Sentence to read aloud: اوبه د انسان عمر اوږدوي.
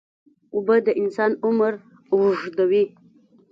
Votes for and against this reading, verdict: 2, 1, accepted